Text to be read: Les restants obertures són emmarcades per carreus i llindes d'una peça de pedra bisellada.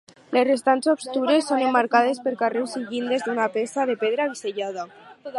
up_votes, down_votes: 0, 4